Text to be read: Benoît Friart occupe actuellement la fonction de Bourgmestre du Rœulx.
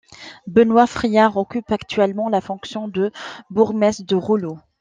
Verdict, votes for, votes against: rejected, 1, 2